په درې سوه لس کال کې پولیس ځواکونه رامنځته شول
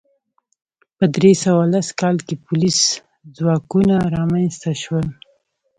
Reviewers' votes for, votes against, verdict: 0, 2, rejected